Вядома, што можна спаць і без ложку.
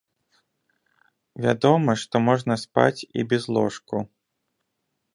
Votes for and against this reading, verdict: 2, 0, accepted